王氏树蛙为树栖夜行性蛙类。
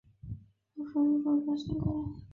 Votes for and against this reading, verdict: 0, 2, rejected